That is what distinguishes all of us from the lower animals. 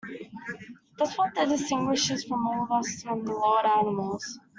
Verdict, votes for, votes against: rejected, 0, 2